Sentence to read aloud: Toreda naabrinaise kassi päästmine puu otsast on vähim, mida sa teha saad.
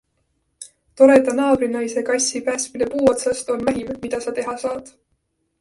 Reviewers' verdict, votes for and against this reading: accepted, 2, 1